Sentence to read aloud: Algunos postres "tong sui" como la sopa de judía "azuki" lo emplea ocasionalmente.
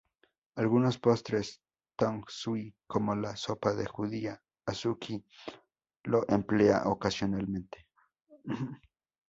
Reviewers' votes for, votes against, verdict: 0, 2, rejected